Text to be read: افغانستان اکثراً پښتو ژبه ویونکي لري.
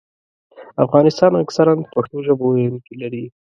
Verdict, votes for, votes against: accepted, 2, 0